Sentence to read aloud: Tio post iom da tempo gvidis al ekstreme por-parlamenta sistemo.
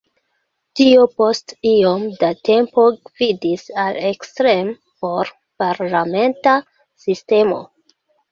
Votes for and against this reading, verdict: 2, 1, accepted